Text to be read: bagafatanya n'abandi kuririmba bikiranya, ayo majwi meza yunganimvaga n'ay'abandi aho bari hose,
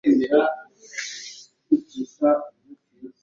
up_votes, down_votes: 0, 3